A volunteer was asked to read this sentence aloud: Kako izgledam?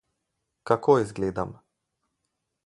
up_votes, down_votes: 2, 2